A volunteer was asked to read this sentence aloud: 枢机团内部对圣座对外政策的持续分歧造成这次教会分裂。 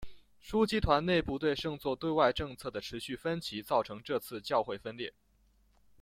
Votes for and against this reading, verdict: 2, 0, accepted